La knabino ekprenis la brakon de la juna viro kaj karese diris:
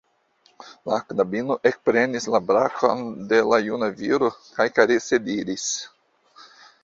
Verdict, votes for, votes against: rejected, 0, 2